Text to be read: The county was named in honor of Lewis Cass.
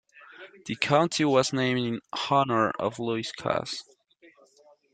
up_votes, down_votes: 2, 0